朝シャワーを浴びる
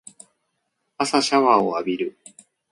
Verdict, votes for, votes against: rejected, 1, 2